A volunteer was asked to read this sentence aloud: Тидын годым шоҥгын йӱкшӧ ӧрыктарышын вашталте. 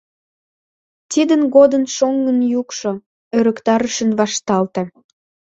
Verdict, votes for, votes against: accepted, 2, 0